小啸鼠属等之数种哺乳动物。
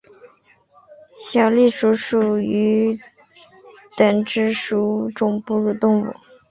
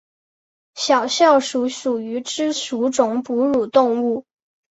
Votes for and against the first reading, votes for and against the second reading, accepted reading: 2, 0, 2, 3, first